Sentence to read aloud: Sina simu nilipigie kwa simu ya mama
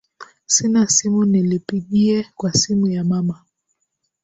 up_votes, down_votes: 0, 2